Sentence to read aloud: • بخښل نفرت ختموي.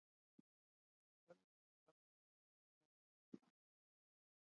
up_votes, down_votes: 1, 2